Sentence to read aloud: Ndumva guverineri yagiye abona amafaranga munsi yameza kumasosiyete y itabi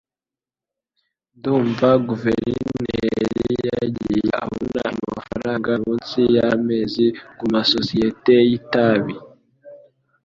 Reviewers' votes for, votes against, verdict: 0, 2, rejected